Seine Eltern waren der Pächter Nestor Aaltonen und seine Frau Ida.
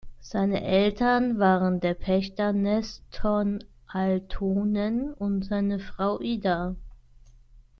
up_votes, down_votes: 0, 2